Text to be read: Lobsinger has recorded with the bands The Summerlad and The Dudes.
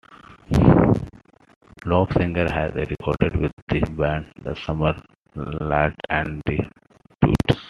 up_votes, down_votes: 0, 2